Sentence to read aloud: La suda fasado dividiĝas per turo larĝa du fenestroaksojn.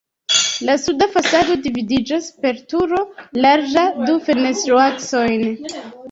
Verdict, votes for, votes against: rejected, 0, 2